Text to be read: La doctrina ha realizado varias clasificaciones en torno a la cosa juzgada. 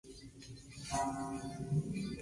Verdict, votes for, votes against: rejected, 2, 2